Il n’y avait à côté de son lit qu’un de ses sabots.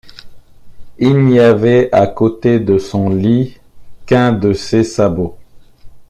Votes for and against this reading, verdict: 2, 0, accepted